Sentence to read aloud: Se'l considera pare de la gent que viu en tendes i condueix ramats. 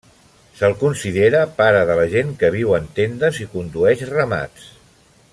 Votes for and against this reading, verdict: 2, 0, accepted